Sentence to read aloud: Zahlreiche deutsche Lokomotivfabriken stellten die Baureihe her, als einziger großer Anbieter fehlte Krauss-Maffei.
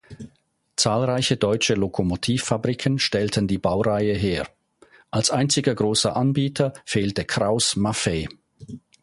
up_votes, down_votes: 2, 0